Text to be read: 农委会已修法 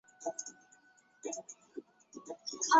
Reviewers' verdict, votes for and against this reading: rejected, 0, 3